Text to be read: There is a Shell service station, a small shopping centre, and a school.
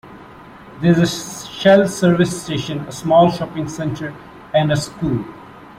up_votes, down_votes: 0, 2